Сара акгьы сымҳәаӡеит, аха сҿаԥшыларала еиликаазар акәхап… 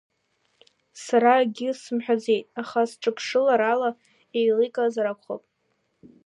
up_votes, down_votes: 2, 1